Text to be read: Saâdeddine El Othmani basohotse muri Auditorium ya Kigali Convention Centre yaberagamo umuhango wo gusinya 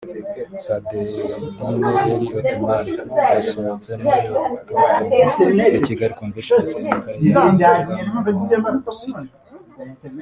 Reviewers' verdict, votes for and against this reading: rejected, 1, 3